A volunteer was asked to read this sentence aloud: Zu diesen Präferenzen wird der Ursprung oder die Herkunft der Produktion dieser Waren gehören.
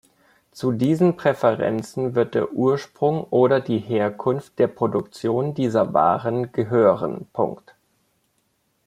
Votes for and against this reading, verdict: 1, 2, rejected